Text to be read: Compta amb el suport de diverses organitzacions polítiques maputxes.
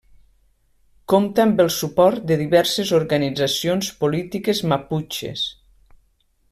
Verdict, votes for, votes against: accepted, 3, 0